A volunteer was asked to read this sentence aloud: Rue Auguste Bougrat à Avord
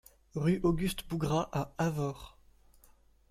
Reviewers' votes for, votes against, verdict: 2, 0, accepted